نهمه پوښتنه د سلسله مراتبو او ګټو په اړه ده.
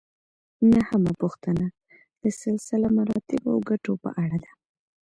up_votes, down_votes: 2, 1